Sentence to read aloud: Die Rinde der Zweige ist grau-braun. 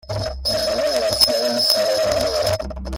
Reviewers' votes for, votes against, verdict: 0, 2, rejected